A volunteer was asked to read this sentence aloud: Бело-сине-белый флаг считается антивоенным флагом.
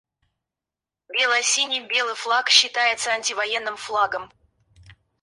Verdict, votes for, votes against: rejected, 0, 4